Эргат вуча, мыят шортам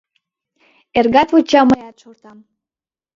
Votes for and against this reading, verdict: 0, 2, rejected